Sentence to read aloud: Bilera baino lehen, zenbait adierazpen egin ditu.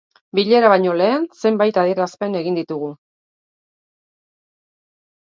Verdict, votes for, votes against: rejected, 1, 2